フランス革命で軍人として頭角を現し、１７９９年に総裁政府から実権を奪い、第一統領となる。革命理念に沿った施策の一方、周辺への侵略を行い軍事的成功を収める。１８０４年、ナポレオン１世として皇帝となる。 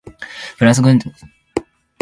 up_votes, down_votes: 0, 2